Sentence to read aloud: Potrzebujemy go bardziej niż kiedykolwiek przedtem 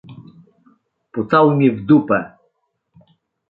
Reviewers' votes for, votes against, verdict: 0, 2, rejected